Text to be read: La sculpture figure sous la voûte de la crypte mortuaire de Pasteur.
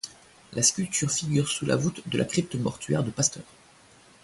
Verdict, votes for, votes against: accepted, 2, 0